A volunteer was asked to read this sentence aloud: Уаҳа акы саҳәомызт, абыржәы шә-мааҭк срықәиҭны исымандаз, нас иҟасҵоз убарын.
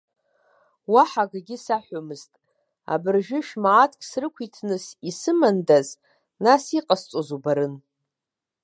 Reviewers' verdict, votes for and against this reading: rejected, 0, 2